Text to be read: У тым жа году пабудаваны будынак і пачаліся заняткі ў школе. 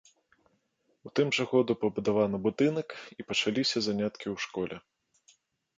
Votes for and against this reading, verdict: 2, 0, accepted